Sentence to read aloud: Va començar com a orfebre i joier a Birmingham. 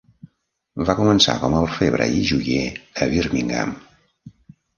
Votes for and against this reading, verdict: 2, 0, accepted